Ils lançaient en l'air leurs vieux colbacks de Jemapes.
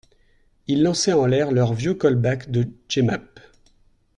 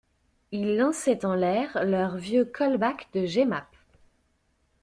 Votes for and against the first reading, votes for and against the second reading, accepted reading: 1, 2, 2, 0, second